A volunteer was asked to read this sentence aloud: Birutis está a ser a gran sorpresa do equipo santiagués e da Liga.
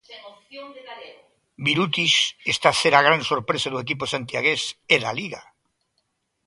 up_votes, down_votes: 2, 0